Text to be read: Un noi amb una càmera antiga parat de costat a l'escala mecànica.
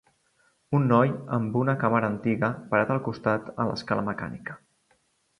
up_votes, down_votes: 1, 2